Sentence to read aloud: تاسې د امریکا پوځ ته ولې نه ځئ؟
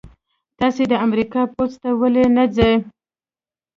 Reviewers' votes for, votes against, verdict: 0, 2, rejected